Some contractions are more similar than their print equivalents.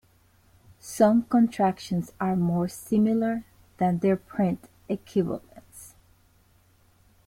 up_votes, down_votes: 0, 2